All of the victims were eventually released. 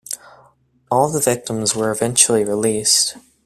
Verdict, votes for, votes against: rejected, 0, 2